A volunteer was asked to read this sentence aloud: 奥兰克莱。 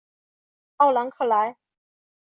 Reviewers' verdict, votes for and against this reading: accepted, 3, 0